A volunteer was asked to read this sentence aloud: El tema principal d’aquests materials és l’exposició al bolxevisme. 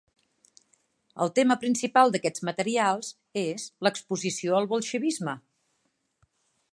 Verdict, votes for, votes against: accepted, 3, 0